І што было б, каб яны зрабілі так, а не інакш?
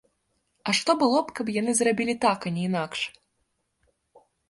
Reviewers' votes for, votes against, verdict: 1, 2, rejected